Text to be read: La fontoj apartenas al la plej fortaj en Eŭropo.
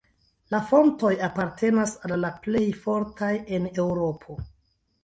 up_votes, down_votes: 1, 2